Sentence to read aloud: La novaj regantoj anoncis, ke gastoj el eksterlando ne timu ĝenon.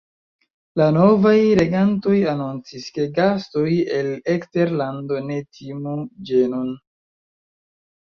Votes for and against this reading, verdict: 1, 2, rejected